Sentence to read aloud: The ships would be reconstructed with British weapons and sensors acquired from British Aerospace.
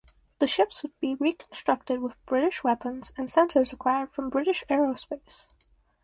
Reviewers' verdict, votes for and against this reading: accepted, 4, 0